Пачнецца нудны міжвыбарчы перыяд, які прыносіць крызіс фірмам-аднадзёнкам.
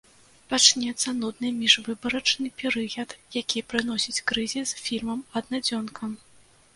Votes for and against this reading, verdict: 1, 3, rejected